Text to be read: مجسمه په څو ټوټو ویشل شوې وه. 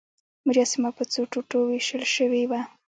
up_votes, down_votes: 2, 1